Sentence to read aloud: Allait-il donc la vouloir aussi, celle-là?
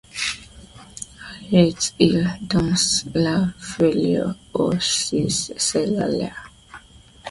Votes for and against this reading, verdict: 1, 2, rejected